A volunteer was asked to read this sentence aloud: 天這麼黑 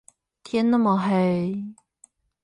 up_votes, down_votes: 0, 8